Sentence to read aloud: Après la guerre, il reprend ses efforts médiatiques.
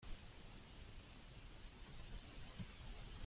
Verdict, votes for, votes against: rejected, 0, 2